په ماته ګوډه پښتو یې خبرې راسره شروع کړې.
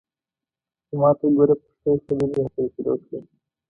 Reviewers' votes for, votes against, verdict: 2, 0, accepted